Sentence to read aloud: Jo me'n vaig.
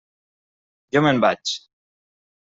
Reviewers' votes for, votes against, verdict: 3, 0, accepted